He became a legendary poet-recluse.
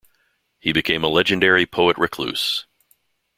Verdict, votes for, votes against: accepted, 2, 0